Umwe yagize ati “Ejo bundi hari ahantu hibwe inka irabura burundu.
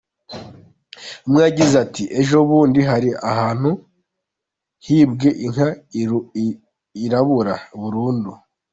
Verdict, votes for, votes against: rejected, 1, 2